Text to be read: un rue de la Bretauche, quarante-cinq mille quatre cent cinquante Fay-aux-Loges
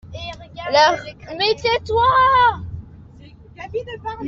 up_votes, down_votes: 0, 2